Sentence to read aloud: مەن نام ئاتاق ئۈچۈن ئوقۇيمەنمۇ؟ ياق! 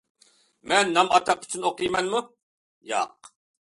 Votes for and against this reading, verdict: 2, 0, accepted